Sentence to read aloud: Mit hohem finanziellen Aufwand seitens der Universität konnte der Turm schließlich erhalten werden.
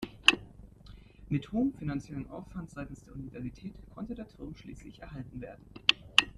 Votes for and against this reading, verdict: 1, 2, rejected